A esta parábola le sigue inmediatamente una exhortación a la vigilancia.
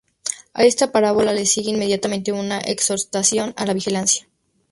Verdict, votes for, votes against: rejected, 0, 2